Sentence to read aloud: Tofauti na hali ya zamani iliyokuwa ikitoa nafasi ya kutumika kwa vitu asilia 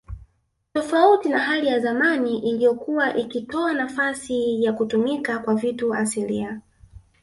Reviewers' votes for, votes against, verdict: 1, 2, rejected